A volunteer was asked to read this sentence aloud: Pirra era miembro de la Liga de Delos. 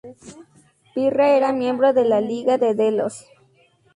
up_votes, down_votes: 0, 2